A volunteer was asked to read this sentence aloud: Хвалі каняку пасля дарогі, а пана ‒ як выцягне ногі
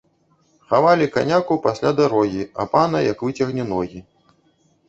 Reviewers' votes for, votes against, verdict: 0, 2, rejected